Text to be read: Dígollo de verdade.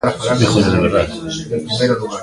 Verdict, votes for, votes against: rejected, 0, 2